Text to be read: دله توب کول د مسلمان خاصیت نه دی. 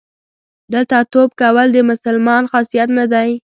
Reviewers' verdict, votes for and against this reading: rejected, 1, 2